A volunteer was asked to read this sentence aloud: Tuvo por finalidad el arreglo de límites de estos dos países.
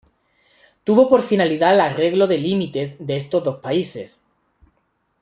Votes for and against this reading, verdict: 0, 2, rejected